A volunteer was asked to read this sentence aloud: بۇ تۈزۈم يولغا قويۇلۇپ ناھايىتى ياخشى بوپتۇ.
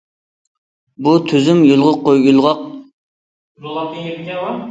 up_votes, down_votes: 0, 2